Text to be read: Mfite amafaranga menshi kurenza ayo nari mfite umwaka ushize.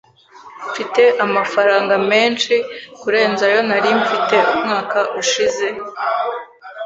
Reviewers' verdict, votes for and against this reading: accepted, 2, 1